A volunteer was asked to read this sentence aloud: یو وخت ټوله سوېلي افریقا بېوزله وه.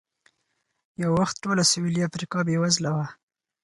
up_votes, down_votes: 2, 4